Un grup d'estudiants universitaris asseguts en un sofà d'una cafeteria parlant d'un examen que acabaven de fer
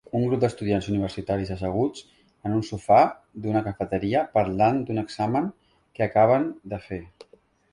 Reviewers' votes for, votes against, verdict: 0, 2, rejected